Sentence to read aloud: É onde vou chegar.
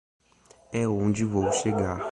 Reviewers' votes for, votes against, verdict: 2, 0, accepted